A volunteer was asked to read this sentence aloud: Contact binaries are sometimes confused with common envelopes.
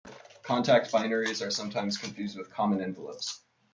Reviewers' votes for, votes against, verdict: 2, 0, accepted